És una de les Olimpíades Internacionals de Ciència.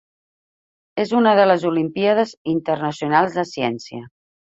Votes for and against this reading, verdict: 4, 0, accepted